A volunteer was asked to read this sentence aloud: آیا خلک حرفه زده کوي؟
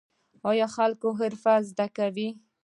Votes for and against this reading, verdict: 0, 2, rejected